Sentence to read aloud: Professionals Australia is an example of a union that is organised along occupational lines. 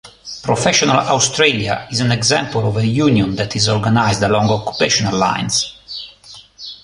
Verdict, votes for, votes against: rejected, 0, 2